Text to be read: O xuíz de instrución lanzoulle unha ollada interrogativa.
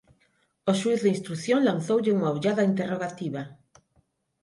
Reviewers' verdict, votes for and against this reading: accepted, 6, 0